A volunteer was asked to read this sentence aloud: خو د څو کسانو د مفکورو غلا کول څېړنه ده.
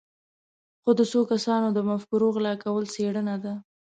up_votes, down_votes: 2, 0